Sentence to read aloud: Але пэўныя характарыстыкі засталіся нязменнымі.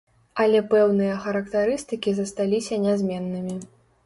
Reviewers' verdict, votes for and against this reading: accepted, 2, 0